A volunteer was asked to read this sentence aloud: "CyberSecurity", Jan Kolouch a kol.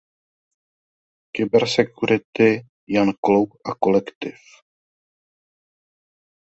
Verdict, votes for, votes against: rejected, 0, 2